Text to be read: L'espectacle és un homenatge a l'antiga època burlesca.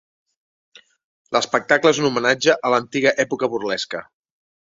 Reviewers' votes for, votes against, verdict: 3, 0, accepted